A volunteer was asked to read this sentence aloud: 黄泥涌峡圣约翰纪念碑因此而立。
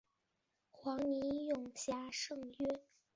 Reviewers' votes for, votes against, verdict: 0, 3, rejected